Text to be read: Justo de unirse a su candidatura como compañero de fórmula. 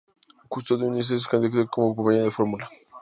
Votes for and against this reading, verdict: 0, 4, rejected